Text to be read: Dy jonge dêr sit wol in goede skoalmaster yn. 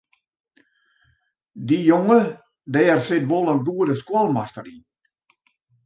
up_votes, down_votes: 2, 0